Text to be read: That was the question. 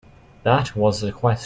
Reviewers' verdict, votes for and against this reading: rejected, 0, 3